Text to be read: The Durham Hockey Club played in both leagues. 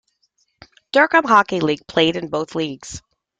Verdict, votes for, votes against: rejected, 0, 2